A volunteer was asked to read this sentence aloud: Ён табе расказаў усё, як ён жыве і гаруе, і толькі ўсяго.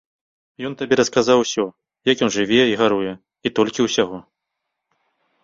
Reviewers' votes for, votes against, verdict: 2, 0, accepted